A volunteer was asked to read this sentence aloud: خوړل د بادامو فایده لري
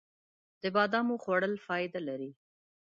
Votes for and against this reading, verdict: 1, 2, rejected